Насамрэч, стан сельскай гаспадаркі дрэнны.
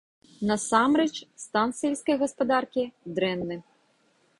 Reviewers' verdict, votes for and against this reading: rejected, 0, 2